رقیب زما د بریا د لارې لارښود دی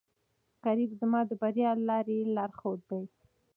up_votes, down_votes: 2, 0